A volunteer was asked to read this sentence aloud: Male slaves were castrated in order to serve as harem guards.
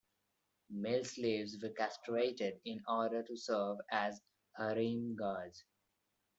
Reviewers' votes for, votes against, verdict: 2, 1, accepted